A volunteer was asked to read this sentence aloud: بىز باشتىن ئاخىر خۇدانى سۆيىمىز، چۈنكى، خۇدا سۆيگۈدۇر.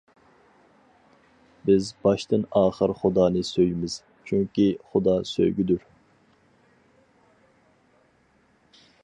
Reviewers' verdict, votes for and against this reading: accepted, 4, 0